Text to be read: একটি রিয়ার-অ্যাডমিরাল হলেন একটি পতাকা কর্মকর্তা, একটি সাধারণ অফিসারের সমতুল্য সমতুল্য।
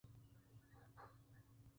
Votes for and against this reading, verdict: 0, 2, rejected